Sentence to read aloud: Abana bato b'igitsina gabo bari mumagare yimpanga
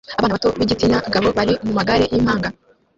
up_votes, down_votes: 1, 2